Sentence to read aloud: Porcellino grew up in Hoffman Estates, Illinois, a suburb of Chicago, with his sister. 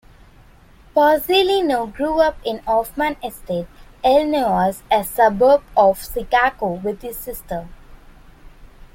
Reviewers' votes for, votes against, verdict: 0, 2, rejected